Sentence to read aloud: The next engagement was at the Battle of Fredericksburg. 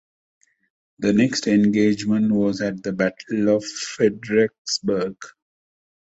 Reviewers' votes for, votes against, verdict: 1, 2, rejected